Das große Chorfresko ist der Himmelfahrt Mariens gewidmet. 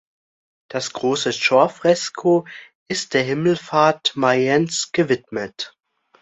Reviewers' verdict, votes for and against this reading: rejected, 0, 2